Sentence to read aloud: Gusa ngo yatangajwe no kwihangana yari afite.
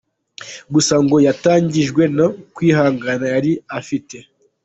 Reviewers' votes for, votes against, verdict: 2, 1, accepted